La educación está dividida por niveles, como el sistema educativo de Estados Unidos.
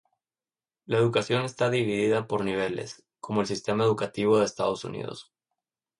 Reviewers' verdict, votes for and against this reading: rejected, 0, 2